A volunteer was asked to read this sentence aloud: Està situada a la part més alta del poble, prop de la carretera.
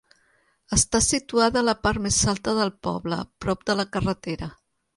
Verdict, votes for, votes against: accepted, 4, 0